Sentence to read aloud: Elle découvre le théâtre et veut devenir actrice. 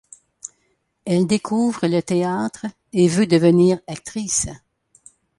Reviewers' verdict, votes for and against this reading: accepted, 2, 0